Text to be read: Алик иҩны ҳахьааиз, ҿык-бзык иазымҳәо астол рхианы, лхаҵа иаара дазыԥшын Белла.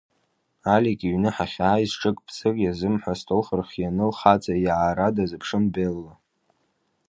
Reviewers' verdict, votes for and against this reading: accepted, 2, 0